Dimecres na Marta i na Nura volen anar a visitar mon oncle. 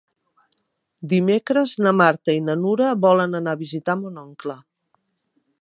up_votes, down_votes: 3, 0